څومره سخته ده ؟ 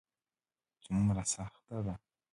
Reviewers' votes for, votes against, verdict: 1, 2, rejected